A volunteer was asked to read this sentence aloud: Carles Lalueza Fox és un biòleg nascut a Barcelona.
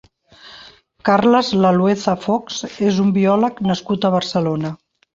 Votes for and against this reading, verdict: 2, 0, accepted